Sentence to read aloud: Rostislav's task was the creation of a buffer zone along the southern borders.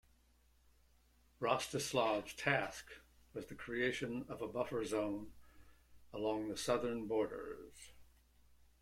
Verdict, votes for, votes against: accepted, 2, 0